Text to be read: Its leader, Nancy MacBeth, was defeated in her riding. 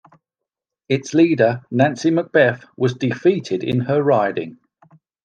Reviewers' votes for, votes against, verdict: 2, 0, accepted